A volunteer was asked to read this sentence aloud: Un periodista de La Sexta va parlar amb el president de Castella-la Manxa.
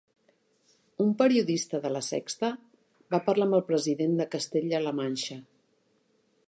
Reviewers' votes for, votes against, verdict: 3, 1, accepted